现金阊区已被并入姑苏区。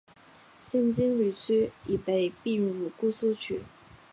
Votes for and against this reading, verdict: 5, 3, accepted